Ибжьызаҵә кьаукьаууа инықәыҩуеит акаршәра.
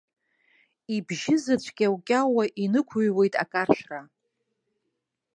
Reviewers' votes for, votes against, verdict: 4, 0, accepted